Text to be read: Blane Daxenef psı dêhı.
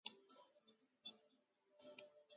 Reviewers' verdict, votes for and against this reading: rejected, 0, 2